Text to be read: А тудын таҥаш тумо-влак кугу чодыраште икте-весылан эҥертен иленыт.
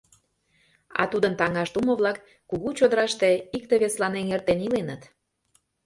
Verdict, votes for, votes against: accepted, 2, 0